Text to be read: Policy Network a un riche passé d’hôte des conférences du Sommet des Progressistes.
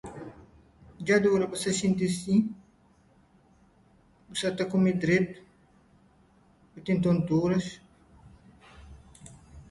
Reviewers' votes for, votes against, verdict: 1, 2, rejected